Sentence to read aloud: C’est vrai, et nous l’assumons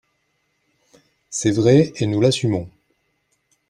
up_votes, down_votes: 2, 0